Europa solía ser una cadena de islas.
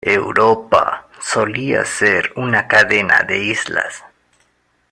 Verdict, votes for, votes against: rejected, 1, 2